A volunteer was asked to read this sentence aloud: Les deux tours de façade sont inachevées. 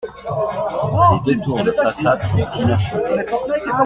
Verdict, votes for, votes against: accepted, 2, 0